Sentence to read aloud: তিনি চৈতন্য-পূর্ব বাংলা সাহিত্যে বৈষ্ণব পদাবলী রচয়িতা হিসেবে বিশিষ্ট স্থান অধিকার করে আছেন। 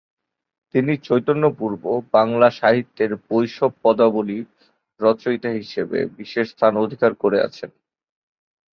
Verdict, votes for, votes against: rejected, 0, 2